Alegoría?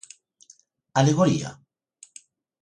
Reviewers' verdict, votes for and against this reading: accepted, 2, 0